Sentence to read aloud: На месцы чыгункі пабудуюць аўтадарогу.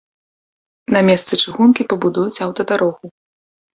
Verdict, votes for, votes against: accepted, 2, 0